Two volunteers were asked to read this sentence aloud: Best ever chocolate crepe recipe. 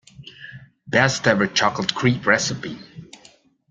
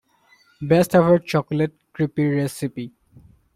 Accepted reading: first